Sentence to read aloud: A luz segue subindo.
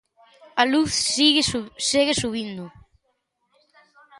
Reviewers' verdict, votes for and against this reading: rejected, 0, 2